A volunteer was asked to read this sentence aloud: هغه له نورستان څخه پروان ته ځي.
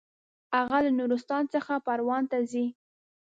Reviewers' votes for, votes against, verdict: 2, 0, accepted